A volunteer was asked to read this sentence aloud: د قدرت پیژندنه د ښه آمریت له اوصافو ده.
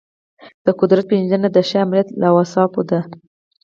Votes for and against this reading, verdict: 4, 0, accepted